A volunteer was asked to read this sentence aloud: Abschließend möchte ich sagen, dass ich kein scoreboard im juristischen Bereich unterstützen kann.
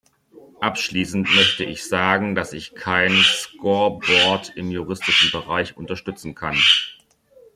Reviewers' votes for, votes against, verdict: 2, 3, rejected